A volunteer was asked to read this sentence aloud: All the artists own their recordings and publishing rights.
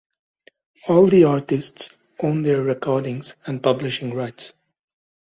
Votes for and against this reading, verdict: 2, 0, accepted